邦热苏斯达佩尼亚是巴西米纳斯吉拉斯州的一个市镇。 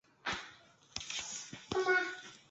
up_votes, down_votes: 0, 2